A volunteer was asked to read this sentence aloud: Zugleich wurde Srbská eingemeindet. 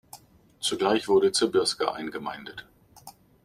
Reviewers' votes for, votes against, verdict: 2, 0, accepted